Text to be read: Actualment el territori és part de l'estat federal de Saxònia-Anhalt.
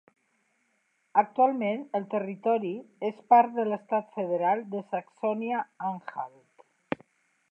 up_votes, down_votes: 3, 0